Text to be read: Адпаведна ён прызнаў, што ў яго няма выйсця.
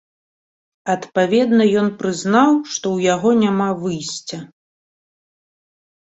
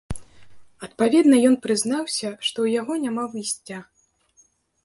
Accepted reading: first